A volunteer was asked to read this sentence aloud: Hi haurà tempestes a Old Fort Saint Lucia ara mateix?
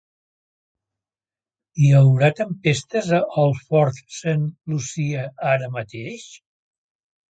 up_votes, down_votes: 2, 0